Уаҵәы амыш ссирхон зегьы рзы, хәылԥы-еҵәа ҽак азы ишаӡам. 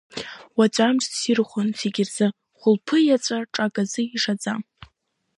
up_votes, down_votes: 2, 1